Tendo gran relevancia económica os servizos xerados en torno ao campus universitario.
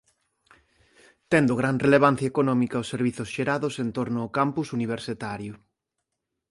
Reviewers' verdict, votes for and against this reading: rejected, 0, 2